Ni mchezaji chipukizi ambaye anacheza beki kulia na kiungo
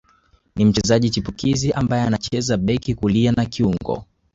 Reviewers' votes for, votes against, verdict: 2, 0, accepted